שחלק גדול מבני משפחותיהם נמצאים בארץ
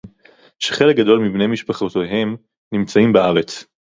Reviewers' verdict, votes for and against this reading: rejected, 2, 2